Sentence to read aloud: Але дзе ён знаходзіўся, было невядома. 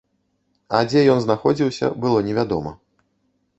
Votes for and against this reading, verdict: 0, 2, rejected